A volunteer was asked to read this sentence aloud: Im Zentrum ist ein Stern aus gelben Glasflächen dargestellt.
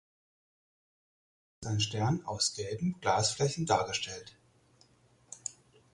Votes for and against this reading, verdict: 0, 4, rejected